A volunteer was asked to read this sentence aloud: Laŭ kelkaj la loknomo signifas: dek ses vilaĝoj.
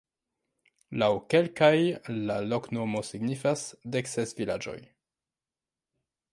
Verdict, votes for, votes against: accepted, 2, 1